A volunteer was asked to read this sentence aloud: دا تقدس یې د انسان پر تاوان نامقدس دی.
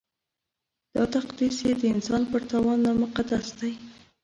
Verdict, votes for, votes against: rejected, 1, 2